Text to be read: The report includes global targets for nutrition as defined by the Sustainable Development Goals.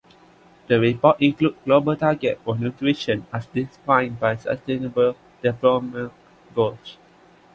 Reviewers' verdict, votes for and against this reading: accepted, 2, 1